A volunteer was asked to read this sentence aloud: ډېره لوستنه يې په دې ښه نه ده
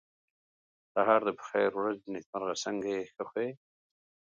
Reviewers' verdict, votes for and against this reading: rejected, 1, 5